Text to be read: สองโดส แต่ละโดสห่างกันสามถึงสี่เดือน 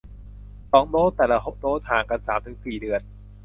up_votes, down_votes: 1, 2